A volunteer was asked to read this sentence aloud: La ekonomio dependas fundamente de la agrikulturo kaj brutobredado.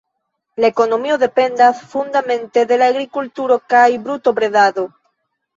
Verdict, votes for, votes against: rejected, 0, 2